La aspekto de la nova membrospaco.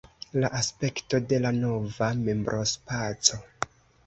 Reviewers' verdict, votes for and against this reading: accepted, 2, 0